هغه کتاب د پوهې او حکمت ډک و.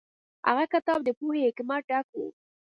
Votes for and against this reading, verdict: 2, 0, accepted